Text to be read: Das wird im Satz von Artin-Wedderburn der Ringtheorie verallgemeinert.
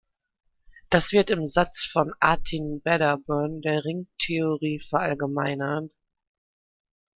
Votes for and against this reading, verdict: 2, 1, accepted